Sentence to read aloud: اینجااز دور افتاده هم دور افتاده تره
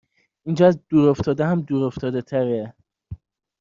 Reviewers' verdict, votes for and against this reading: accepted, 2, 0